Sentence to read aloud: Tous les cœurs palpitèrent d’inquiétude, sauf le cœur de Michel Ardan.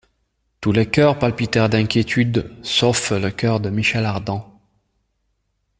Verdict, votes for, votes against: accepted, 2, 0